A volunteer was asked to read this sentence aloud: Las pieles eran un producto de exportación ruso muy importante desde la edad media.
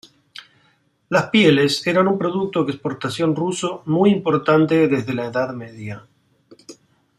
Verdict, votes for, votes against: accepted, 2, 0